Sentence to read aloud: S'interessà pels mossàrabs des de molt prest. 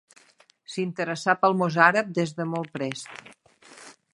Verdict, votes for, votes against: accepted, 2, 0